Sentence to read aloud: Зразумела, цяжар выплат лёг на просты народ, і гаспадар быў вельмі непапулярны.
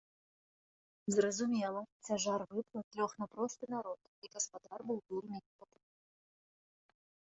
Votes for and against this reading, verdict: 0, 2, rejected